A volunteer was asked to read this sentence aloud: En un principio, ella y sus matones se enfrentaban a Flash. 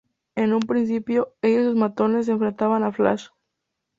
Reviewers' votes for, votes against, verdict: 0, 2, rejected